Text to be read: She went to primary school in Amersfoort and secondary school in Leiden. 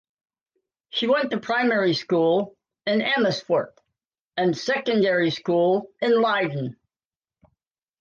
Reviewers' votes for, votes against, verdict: 2, 0, accepted